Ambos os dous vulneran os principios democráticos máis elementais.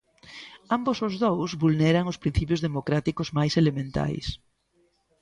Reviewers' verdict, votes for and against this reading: accepted, 2, 0